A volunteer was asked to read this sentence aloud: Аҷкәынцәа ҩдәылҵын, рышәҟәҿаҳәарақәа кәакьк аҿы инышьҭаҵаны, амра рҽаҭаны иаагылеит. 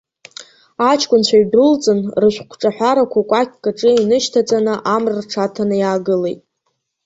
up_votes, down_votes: 2, 1